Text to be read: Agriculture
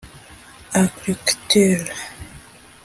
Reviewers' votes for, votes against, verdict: 0, 2, rejected